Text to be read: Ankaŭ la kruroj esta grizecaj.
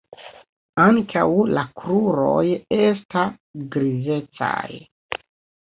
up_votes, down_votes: 2, 0